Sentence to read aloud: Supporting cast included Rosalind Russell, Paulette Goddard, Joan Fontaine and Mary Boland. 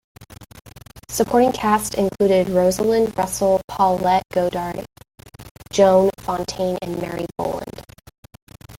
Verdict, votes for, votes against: rejected, 1, 2